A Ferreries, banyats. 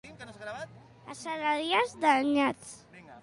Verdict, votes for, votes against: rejected, 0, 2